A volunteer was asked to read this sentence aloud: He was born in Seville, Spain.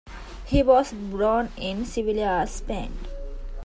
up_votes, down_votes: 2, 0